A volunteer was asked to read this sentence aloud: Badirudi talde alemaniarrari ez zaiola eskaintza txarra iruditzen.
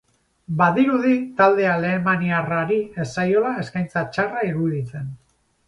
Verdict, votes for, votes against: accepted, 2, 0